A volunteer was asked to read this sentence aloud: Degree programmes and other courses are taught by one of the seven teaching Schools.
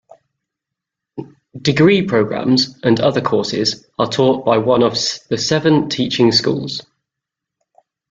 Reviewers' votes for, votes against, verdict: 1, 2, rejected